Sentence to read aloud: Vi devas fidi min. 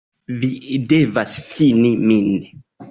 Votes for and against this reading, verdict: 1, 2, rejected